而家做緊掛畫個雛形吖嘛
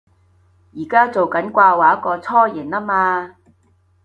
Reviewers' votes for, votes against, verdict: 2, 0, accepted